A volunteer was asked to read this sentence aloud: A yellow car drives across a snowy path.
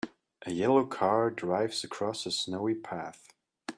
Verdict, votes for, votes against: accepted, 2, 0